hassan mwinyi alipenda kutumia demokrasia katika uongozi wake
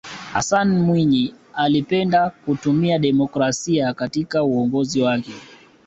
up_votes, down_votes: 2, 0